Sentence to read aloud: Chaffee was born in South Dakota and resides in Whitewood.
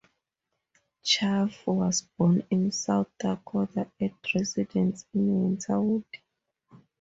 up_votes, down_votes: 0, 22